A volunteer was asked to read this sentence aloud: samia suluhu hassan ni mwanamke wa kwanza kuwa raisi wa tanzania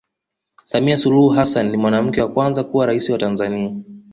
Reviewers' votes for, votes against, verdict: 2, 0, accepted